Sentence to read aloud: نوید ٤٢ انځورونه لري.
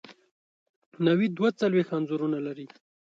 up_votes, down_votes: 0, 2